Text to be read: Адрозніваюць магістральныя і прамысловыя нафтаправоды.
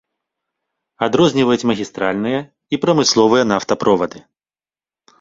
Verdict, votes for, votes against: rejected, 1, 2